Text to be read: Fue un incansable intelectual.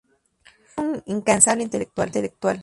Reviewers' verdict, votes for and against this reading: rejected, 0, 4